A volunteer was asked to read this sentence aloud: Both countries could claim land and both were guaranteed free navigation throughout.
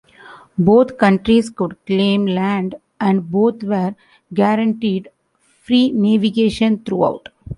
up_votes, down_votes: 1, 2